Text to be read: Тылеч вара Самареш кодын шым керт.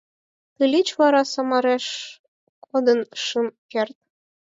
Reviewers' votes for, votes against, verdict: 4, 2, accepted